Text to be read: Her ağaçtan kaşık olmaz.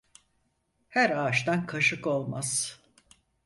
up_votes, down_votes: 4, 0